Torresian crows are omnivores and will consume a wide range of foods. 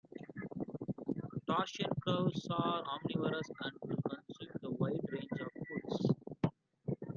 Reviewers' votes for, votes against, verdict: 0, 2, rejected